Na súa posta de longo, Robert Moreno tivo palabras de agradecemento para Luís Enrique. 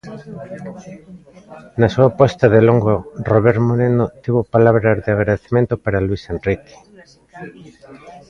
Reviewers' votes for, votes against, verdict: 2, 1, accepted